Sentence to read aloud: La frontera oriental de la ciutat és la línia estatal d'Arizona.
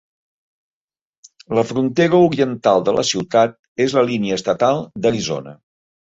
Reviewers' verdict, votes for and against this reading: accepted, 3, 0